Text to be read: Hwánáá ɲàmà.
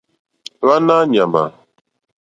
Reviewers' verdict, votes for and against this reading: accepted, 2, 0